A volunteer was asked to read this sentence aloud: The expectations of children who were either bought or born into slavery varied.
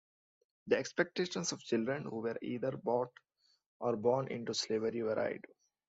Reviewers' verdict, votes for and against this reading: accepted, 2, 0